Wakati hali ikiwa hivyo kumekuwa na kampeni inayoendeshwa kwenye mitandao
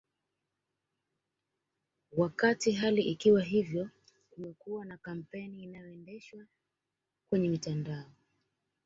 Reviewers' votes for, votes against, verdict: 2, 1, accepted